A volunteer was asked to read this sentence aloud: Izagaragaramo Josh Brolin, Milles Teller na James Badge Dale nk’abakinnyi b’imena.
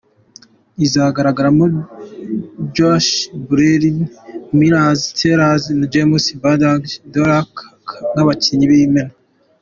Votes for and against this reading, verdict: 2, 0, accepted